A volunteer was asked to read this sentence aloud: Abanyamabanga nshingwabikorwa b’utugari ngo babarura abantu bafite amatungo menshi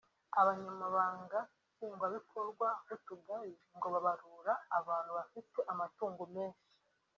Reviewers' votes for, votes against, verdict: 1, 2, rejected